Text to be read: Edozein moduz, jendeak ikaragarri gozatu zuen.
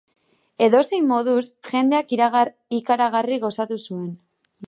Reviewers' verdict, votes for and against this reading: rejected, 2, 3